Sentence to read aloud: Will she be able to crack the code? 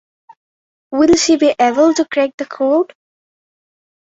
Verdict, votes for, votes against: accepted, 4, 0